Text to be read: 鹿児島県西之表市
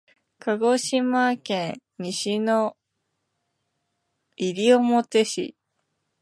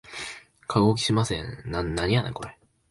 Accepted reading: first